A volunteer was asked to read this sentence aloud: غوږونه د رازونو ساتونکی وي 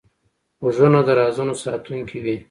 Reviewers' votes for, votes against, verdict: 1, 2, rejected